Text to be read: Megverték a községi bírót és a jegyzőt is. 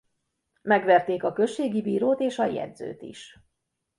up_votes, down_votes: 2, 0